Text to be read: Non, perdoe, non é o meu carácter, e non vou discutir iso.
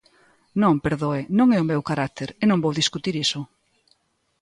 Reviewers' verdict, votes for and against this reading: accepted, 2, 0